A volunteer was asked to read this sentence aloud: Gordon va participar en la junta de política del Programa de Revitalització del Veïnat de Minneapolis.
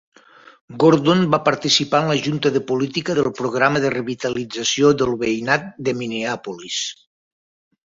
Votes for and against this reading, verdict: 4, 0, accepted